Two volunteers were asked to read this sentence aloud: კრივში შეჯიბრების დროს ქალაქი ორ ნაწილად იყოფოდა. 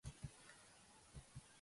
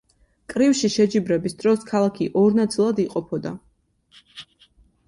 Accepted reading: second